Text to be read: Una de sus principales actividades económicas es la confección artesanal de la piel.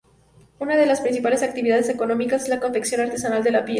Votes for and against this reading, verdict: 2, 2, rejected